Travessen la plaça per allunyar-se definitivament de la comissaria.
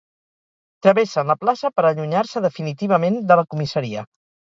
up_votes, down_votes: 2, 2